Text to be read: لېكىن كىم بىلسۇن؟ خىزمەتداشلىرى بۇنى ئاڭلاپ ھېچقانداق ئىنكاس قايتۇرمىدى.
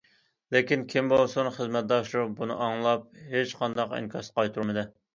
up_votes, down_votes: 2, 0